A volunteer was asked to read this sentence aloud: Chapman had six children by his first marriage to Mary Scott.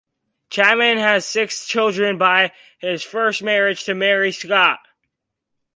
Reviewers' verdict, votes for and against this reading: accepted, 2, 0